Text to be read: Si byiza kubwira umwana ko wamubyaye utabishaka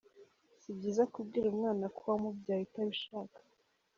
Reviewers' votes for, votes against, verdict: 2, 0, accepted